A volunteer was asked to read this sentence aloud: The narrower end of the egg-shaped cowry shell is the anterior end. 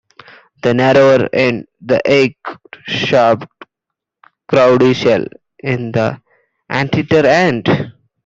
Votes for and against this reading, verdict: 0, 2, rejected